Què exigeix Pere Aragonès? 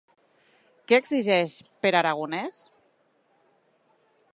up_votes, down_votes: 3, 0